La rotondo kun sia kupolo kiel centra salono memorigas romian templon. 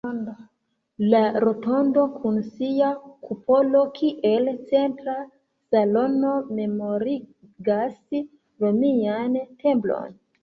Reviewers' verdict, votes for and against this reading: rejected, 1, 2